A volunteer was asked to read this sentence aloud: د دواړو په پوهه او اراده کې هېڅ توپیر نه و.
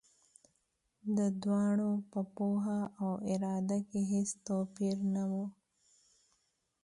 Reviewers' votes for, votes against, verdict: 2, 0, accepted